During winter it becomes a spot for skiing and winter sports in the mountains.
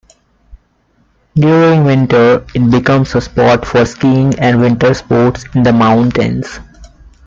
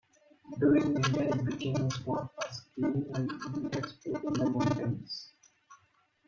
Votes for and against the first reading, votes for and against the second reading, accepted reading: 2, 0, 0, 2, first